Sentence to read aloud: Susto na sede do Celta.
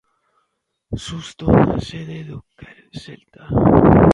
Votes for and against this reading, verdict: 0, 2, rejected